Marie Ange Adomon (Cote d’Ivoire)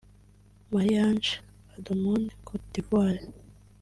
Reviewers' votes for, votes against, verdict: 1, 2, rejected